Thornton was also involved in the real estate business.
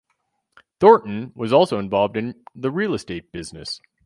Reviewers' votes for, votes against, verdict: 0, 2, rejected